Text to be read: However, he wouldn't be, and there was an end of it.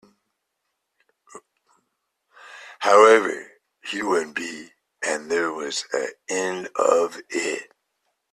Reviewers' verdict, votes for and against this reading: rejected, 1, 2